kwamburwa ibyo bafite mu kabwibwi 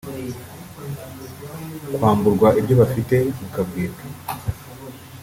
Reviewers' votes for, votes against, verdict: 1, 2, rejected